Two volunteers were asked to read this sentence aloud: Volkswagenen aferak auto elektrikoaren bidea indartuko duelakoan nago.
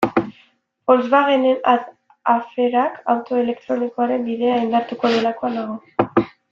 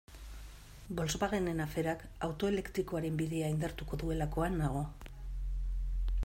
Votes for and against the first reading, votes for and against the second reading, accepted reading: 1, 2, 2, 0, second